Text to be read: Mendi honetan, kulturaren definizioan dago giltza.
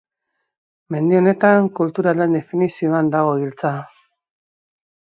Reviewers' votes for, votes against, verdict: 2, 0, accepted